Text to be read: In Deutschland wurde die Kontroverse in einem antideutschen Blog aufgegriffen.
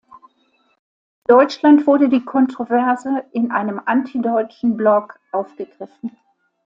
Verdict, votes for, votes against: rejected, 0, 2